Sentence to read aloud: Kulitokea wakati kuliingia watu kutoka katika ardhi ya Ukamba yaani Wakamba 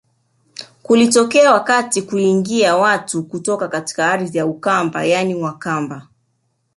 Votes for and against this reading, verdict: 1, 2, rejected